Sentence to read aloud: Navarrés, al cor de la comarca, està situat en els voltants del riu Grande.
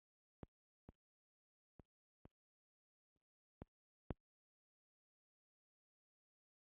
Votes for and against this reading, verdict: 0, 2, rejected